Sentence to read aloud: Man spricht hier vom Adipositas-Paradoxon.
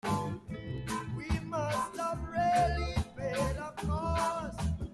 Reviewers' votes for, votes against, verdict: 0, 2, rejected